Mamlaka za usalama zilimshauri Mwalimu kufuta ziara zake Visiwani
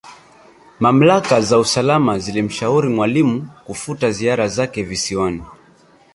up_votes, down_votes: 3, 0